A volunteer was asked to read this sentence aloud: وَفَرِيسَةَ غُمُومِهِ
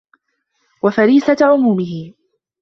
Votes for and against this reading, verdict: 2, 1, accepted